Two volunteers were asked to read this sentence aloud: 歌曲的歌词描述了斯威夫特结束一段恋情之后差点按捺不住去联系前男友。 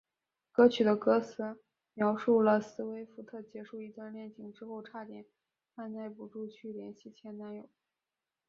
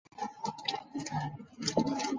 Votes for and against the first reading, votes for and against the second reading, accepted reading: 3, 0, 0, 4, first